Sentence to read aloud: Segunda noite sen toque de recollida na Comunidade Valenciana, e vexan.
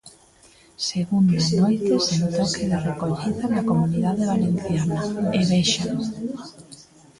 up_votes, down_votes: 0, 2